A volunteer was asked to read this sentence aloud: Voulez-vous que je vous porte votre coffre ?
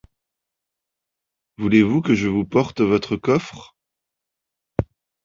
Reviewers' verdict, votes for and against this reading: accepted, 2, 0